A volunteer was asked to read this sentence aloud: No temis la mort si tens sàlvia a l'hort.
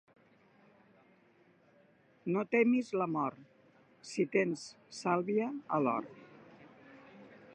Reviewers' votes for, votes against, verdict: 2, 0, accepted